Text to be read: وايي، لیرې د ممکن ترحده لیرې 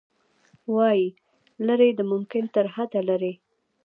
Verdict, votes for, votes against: accepted, 2, 0